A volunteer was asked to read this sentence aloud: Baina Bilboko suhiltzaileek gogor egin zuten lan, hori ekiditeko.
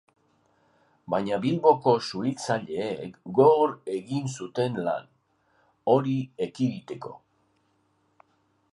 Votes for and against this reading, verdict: 2, 0, accepted